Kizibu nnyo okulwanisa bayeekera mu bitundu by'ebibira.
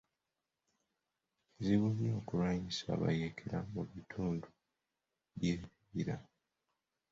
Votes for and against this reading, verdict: 0, 2, rejected